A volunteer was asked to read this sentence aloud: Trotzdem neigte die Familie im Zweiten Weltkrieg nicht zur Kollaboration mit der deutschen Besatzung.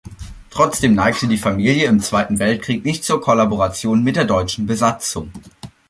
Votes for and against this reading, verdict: 2, 0, accepted